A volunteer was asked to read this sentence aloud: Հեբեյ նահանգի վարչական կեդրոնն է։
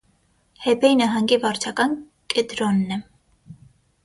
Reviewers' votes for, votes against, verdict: 0, 3, rejected